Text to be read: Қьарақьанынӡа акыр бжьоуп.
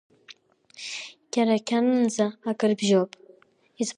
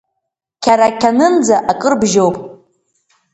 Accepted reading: second